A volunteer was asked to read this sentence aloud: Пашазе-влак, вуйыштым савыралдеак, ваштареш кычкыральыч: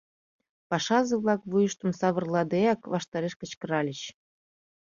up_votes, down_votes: 1, 2